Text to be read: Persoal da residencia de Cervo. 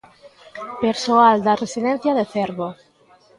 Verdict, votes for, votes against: rejected, 1, 2